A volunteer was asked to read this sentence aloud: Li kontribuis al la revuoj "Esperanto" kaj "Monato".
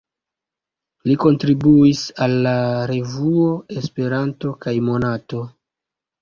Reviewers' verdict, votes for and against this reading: rejected, 0, 2